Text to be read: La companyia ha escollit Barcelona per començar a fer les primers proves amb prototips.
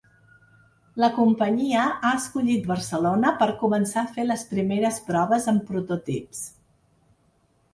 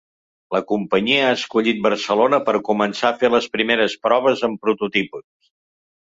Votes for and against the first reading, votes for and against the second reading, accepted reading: 2, 0, 1, 2, first